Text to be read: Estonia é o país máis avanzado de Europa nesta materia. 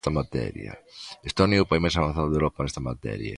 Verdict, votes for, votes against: rejected, 0, 2